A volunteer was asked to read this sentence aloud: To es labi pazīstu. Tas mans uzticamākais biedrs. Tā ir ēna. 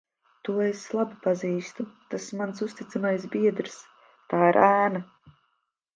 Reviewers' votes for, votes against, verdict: 0, 2, rejected